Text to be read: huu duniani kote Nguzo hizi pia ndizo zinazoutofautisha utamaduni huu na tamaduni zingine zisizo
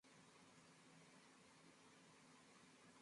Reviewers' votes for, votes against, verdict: 0, 2, rejected